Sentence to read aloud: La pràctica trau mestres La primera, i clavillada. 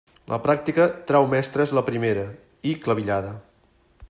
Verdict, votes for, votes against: accepted, 3, 0